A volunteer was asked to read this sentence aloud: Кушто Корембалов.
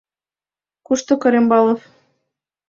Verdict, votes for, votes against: accepted, 2, 0